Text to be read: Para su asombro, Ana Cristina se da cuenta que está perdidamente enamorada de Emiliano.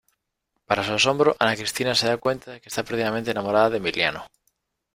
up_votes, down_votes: 1, 2